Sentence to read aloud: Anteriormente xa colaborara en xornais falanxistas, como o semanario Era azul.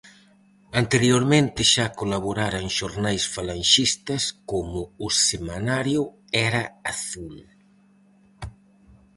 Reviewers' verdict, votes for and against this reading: accepted, 4, 0